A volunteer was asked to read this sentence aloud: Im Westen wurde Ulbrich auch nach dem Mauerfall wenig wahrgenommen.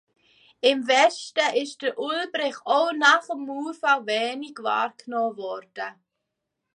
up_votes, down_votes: 0, 2